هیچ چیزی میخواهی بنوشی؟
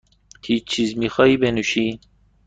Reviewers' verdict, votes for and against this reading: accepted, 2, 0